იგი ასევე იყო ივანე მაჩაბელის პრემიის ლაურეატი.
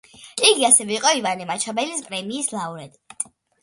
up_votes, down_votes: 2, 0